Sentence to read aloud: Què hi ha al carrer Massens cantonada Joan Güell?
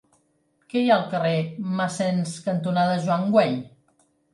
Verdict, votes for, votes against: accepted, 3, 0